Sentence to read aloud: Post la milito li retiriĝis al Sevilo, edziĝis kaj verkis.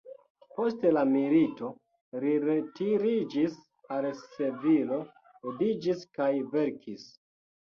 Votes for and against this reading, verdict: 1, 2, rejected